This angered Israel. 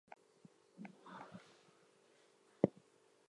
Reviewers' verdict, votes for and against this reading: rejected, 0, 2